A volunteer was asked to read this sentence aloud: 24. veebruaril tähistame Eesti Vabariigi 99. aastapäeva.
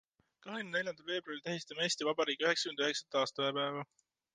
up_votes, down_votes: 0, 2